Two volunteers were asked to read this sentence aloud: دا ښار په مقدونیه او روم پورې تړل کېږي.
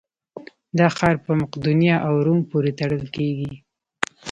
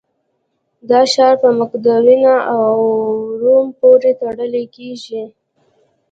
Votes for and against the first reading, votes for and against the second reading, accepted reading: 2, 1, 1, 2, first